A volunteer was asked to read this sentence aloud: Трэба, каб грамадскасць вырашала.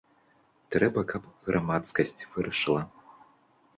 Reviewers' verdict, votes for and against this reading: rejected, 0, 2